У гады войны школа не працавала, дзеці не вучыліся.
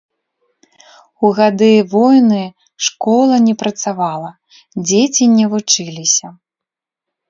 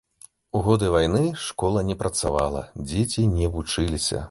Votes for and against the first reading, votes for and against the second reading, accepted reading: 2, 0, 1, 2, first